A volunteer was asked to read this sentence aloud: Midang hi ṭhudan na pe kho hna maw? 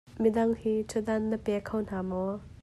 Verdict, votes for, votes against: accepted, 2, 0